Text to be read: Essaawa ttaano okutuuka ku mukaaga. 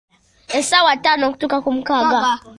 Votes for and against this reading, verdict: 0, 2, rejected